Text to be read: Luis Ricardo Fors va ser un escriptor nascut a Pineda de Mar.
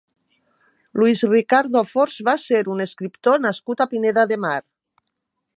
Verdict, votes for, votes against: accepted, 3, 0